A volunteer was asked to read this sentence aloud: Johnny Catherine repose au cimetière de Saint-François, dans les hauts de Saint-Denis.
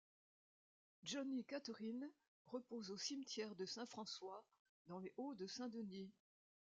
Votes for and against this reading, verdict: 1, 2, rejected